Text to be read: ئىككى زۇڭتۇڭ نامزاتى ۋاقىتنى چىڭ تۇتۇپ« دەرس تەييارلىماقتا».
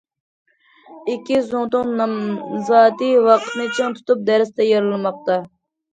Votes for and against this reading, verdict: 2, 0, accepted